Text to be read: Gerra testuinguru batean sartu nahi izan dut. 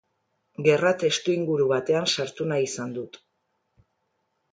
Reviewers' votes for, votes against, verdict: 2, 0, accepted